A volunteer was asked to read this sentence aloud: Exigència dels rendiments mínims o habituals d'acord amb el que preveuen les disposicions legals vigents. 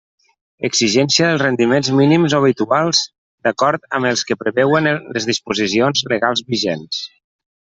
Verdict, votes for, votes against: rejected, 0, 2